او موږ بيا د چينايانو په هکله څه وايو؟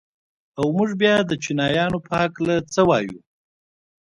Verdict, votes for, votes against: accepted, 2, 0